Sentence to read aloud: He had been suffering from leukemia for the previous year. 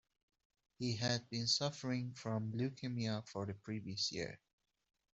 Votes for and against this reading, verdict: 2, 0, accepted